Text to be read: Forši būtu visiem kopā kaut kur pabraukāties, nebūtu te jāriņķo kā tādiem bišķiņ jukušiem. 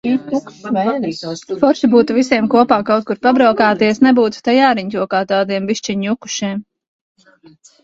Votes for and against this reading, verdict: 1, 3, rejected